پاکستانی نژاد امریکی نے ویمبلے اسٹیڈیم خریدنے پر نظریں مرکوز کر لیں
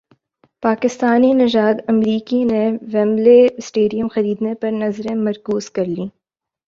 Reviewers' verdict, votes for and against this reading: accepted, 2, 0